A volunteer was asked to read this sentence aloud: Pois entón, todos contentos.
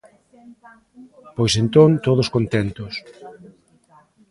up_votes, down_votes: 2, 1